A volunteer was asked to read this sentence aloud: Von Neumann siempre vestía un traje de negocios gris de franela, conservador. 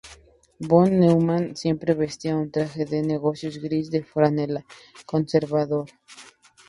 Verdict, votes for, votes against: accepted, 2, 0